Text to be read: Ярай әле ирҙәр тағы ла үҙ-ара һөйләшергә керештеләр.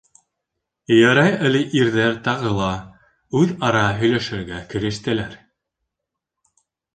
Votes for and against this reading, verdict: 2, 0, accepted